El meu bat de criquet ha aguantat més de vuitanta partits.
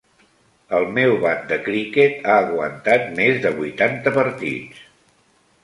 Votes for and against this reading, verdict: 2, 0, accepted